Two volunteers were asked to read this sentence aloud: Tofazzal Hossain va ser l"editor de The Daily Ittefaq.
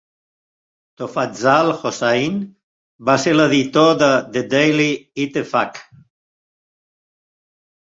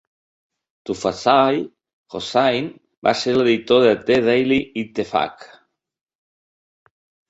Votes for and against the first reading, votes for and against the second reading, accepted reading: 2, 0, 0, 2, first